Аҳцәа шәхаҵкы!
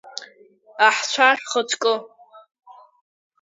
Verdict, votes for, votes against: rejected, 0, 3